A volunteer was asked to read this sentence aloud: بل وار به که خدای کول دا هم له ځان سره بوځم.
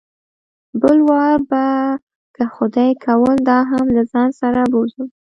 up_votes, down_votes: 1, 2